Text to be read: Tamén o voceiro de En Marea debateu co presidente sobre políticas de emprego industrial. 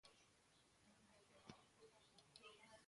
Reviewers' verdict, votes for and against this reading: rejected, 0, 2